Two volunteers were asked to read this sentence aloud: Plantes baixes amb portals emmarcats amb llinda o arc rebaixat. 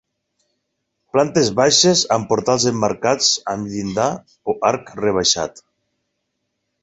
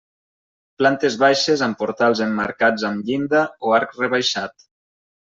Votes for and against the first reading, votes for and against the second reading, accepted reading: 2, 4, 3, 0, second